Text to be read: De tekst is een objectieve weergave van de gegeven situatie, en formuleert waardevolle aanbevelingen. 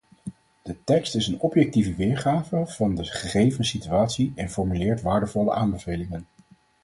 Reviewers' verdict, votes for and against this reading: accepted, 4, 2